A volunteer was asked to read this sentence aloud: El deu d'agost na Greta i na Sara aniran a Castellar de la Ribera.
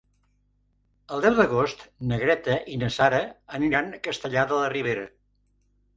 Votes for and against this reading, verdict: 3, 0, accepted